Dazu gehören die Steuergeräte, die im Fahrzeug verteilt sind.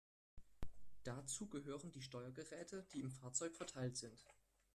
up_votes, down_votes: 1, 2